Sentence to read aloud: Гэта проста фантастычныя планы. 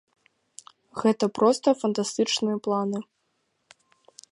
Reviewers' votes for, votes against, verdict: 2, 0, accepted